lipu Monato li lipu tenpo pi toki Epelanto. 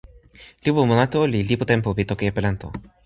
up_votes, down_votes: 2, 0